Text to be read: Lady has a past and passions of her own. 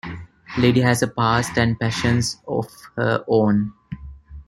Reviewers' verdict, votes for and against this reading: rejected, 1, 2